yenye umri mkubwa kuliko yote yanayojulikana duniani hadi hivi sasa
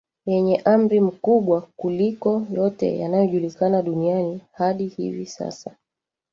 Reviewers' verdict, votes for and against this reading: rejected, 1, 2